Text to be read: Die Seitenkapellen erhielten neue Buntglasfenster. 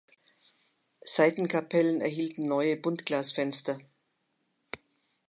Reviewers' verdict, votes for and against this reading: rejected, 1, 2